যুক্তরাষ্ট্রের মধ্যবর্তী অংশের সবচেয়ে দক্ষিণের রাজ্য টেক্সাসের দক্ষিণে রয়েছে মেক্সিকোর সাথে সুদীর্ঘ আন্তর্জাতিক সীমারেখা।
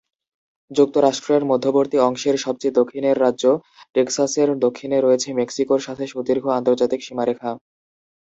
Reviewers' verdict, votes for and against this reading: accepted, 2, 0